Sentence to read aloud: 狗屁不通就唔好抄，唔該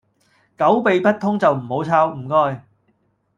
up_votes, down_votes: 0, 2